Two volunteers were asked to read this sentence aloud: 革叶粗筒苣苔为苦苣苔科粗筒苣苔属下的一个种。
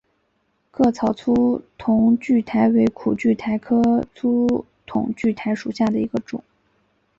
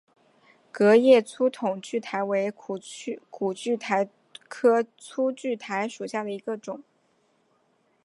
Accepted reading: second